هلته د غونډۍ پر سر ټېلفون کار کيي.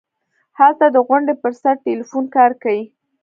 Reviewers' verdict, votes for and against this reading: accepted, 2, 1